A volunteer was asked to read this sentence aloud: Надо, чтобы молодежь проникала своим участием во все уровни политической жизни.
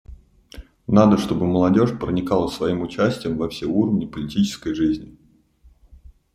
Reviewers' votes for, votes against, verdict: 2, 0, accepted